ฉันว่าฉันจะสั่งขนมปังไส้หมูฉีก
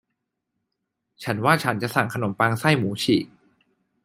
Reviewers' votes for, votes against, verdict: 2, 0, accepted